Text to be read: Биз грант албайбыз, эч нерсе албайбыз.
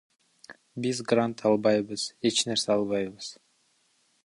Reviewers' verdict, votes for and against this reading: accepted, 2, 1